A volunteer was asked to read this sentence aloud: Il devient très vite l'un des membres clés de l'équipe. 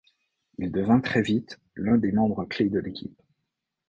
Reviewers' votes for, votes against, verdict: 0, 2, rejected